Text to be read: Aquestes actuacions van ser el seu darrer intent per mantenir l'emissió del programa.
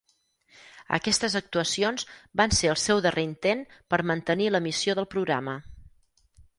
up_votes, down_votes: 4, 0